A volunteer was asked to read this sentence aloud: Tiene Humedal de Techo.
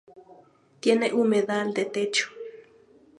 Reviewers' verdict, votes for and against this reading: accepted, 2, 0